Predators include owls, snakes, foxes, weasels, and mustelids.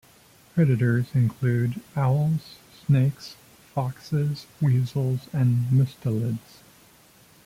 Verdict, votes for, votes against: accepted, 2, 0